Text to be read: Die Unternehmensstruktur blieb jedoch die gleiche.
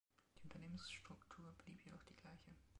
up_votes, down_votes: 2, 3